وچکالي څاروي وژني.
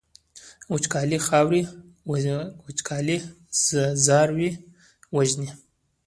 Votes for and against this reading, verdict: 2, 1, accepted